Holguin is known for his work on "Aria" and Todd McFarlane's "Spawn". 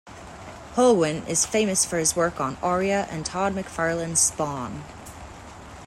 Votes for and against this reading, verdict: 2, 1, accepted